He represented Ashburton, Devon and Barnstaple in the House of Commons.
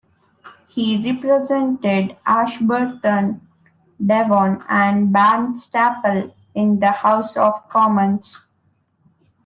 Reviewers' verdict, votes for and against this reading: accepted, 2, 0